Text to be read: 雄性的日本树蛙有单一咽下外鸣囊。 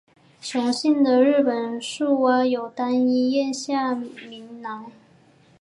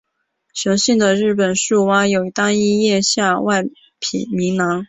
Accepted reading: first